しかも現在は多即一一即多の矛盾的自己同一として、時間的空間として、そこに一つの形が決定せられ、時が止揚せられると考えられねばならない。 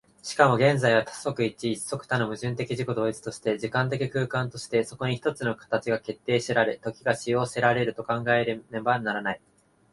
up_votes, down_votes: 2, 1